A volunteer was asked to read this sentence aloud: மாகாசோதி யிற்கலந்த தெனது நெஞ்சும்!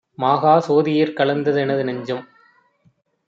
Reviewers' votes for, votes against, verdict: 2, 0, accepted